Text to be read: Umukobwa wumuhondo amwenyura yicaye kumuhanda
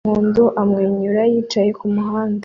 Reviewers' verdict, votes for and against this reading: rejected, 1, 2